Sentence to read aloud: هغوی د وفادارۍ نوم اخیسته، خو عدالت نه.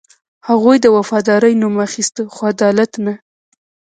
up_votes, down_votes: 1, 2